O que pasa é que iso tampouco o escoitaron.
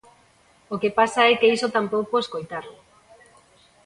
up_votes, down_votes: 2, 1